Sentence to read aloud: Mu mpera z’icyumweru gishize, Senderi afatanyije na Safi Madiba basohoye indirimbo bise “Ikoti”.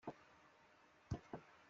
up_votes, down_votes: 0, 2